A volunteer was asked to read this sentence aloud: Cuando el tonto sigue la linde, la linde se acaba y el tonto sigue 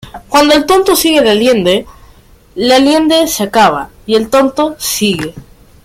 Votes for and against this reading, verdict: 2, 0, accepted